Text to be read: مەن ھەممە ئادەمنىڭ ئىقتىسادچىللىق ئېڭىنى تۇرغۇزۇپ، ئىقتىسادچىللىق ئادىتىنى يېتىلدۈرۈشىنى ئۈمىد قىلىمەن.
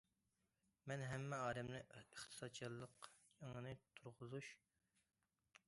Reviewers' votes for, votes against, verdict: 0, 2, rejected